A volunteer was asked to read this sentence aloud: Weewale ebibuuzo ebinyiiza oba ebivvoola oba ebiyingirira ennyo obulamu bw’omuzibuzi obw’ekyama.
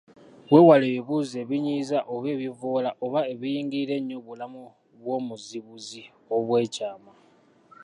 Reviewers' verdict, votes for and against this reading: rejected, 0, 2